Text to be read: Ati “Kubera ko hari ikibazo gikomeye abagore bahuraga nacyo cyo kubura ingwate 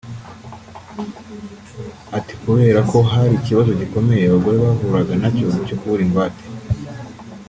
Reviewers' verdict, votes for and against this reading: rejected, 1, 2